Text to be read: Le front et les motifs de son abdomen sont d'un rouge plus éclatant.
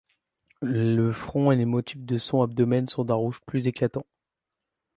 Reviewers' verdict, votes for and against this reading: rejected, 2, 3